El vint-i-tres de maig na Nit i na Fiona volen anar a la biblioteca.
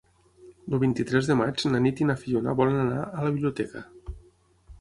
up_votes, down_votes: 6, 0